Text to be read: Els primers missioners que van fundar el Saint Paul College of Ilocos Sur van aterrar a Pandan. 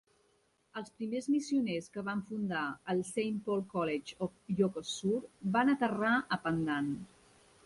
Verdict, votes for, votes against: accepted, 2, 0